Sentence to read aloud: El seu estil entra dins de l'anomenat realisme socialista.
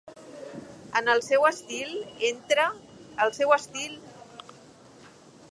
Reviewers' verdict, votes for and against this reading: rejected, 0, 3